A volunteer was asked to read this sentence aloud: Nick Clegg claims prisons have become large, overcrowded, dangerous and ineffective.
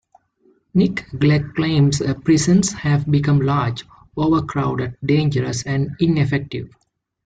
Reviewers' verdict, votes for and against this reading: rejected, 1, 2